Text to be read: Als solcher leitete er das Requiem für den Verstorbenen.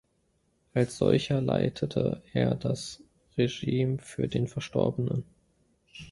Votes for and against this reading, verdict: 1, 2, rejected